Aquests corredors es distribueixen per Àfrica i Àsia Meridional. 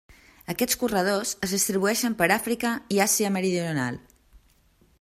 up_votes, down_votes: 1, 2